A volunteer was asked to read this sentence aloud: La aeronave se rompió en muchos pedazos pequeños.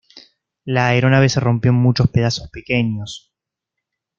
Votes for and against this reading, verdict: 2, 0, accepted